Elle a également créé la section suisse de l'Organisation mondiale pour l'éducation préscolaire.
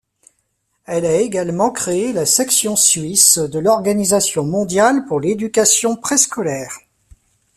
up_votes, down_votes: 1, 2